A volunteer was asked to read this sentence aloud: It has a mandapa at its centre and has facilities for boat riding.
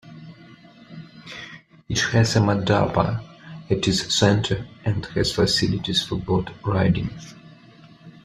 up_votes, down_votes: 1, 2